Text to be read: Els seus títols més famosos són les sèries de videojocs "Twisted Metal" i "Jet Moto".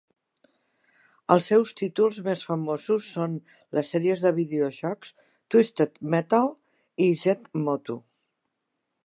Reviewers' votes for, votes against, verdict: 1, 2, rejected